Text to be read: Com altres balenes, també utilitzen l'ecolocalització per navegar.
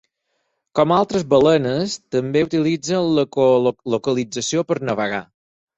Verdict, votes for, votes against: rejected, 0, 4